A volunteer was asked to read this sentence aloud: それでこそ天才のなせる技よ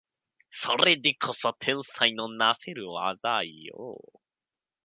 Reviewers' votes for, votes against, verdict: 5, 1, accepted